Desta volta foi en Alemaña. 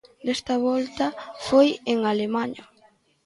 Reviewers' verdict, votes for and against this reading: accepted, 2, 0